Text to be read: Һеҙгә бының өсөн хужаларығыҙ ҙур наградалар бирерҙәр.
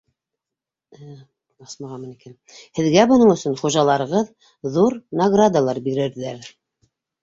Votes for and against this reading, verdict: 1, 2, rejected